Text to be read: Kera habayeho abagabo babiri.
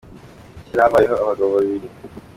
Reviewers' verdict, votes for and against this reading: accepted, 2, 1